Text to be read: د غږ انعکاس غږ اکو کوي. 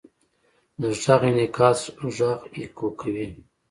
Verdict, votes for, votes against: accepted, 2, 0